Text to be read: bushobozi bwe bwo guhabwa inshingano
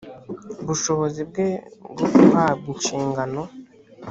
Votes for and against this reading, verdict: 2, 0, accepted